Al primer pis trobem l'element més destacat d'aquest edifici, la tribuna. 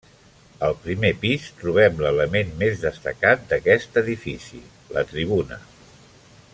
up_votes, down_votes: 3, 0